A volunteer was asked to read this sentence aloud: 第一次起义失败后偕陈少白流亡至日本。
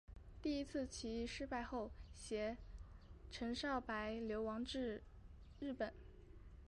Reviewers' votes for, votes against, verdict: 4, 0, accepted